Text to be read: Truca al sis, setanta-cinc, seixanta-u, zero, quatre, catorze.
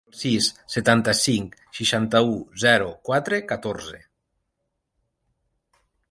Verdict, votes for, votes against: rejected, 0, 2